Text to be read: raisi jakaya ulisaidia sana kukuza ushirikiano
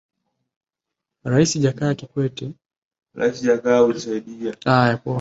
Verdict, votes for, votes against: rejected, 1, 2